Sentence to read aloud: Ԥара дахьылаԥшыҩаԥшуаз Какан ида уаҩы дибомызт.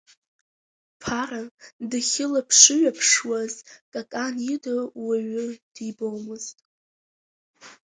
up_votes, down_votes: 2, 0